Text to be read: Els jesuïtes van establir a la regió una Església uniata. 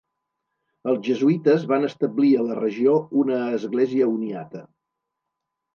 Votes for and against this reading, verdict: 2, 0, accepted